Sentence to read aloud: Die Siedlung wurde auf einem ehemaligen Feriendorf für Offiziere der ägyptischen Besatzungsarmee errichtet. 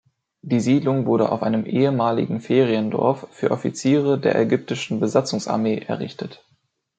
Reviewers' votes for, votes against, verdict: 2, 0, accepted